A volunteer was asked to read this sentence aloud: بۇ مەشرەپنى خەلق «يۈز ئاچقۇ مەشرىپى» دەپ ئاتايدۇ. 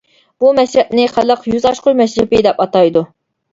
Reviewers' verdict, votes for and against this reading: rejected, 0, 2